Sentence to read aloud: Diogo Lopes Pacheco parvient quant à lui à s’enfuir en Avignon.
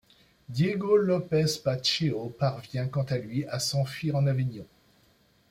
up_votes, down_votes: 2, 1